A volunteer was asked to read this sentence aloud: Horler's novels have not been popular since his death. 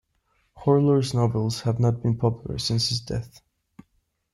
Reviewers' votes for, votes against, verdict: 2, 0, accepted